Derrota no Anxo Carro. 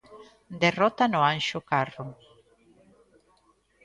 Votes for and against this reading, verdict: 2, 0, accepted